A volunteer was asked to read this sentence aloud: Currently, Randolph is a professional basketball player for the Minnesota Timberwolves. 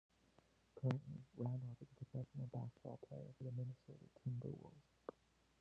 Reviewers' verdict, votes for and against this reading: rejected, 0, 2